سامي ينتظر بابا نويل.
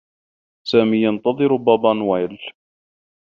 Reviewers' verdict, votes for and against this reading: accepted, 2, 0